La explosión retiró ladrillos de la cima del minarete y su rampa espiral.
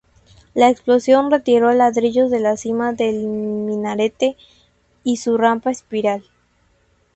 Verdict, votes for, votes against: rejected, 2, 2